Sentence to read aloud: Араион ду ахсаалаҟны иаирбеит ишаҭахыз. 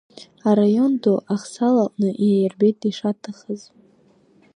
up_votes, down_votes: 2, 0